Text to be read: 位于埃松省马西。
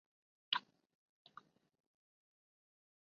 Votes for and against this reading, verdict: 0, 2, rejected